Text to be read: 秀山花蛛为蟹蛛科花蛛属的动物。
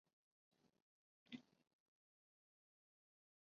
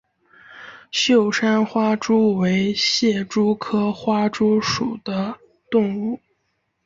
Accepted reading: second